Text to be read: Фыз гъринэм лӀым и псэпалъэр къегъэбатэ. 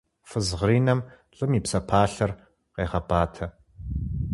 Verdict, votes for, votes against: accepted, 4, 0